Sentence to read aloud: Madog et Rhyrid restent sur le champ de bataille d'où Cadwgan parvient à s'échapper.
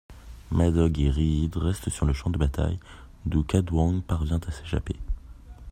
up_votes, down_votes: 2, 0